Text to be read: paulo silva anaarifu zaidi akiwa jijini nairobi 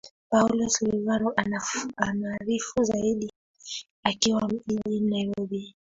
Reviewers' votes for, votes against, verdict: 3, 0, accepted